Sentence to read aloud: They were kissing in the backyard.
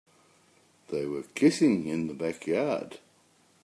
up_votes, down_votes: 2, 0